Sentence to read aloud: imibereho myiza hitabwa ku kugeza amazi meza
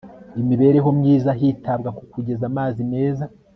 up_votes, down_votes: 2, 0